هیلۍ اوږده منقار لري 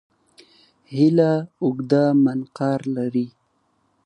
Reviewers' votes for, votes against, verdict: 1, 2, rejected